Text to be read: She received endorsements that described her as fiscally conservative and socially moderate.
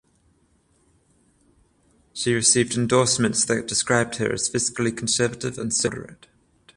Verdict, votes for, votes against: rejected, 0, 7